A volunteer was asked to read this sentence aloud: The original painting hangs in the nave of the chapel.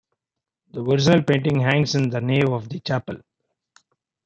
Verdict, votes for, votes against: rejected, 0, 2